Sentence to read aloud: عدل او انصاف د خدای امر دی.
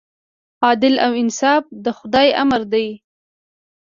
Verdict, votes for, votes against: accepted, 2, 0